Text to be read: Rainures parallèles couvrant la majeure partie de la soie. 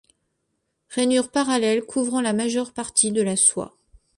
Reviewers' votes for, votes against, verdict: 2, 0, accepted